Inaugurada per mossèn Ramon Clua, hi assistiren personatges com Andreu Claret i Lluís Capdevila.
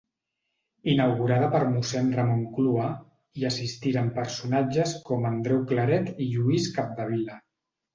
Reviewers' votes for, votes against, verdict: 2, 0, accepted